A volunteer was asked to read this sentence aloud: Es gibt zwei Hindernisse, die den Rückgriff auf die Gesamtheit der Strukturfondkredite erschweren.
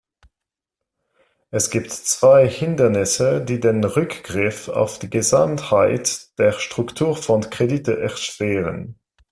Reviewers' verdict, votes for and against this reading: accepted, 2, 0